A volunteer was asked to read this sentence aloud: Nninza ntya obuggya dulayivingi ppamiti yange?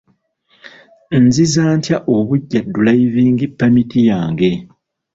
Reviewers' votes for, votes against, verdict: 0, 2, rejected